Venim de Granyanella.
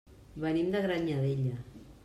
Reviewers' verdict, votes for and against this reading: rejected, 0, 2